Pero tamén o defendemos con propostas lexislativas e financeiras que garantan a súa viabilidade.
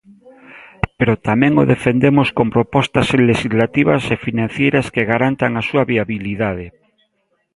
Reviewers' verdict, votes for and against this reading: rejected, 1, 2